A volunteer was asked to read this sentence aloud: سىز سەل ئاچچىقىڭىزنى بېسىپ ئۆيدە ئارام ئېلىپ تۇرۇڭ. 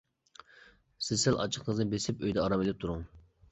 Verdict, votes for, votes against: accepted, 2, 0